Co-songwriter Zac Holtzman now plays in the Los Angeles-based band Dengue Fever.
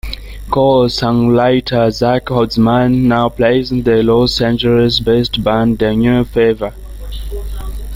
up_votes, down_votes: 0, 2